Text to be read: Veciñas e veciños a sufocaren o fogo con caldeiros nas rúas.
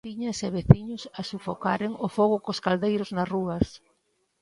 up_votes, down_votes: 0, 2